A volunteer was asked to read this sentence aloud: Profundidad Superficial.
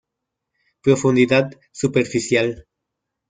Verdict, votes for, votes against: rejected, 0, 2